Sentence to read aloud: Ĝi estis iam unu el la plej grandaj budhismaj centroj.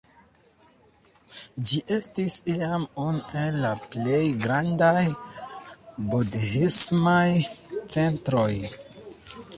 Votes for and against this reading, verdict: 0, 2, rejected